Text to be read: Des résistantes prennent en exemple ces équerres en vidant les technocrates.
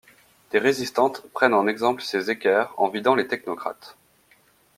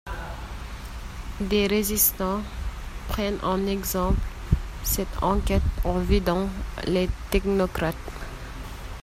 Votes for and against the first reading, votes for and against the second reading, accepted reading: 2, 0, 0, 2, first